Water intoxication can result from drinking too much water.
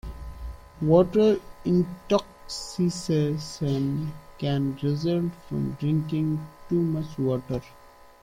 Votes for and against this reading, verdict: 2, 1, accepted